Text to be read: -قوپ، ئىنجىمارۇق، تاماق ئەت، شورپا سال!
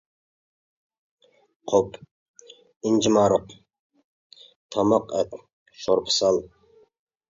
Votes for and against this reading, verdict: 2, 0, accepted